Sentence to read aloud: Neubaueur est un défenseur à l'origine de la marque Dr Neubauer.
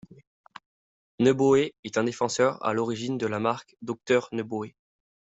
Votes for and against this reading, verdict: 2, 0, accepted